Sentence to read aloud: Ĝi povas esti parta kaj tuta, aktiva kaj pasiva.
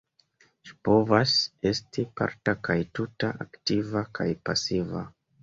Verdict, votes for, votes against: accepted, 2, 0